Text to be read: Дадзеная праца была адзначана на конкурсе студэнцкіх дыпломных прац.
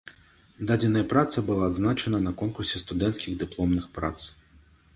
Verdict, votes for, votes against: accepted, 3, 0